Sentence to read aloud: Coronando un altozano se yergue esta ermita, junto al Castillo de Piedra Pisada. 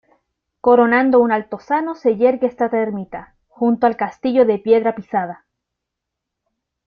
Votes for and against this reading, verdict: 0, 2, rejected